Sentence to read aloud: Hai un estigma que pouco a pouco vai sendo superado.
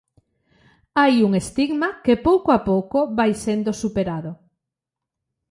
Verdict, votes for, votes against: accepted, 2, 0